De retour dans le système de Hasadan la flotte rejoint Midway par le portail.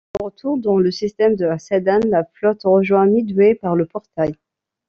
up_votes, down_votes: 2, 0